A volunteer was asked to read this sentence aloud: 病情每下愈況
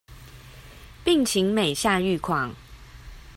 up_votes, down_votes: 2, 0